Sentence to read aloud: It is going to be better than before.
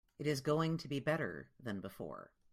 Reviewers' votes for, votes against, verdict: 2, 0, accepted